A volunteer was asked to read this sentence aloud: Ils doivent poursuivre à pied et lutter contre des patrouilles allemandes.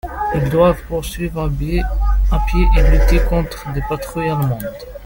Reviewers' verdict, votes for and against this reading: rejected, 1, 2